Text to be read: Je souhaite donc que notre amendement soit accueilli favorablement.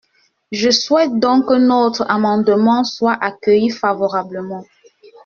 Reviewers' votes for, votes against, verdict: 2, 0, accepted